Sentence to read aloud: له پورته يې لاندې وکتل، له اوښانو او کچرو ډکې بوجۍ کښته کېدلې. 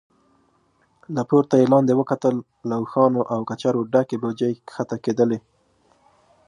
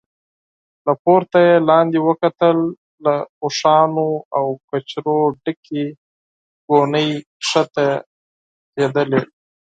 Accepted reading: first